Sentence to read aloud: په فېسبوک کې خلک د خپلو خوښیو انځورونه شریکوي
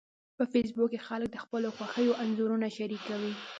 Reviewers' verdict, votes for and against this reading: rejected, 1, 2